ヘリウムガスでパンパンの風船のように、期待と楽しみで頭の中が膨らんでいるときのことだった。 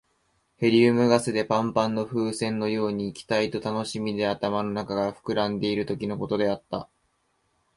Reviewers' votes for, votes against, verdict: 0, 2, rejected